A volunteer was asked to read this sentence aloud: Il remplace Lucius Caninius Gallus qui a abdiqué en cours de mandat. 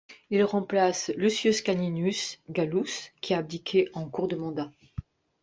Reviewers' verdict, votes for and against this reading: rejected, 1, 2